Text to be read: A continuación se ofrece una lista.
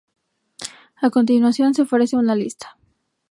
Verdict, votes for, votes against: rejected, 0, 2